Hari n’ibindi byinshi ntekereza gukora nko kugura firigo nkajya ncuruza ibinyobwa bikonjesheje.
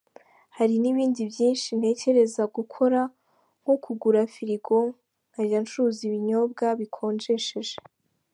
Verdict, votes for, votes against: accepted, 2, 0